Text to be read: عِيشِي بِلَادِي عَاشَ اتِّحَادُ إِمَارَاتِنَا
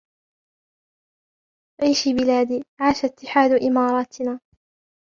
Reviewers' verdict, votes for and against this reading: accepted, 2, 0